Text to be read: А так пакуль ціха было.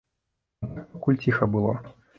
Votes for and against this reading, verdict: 0, 2, rejected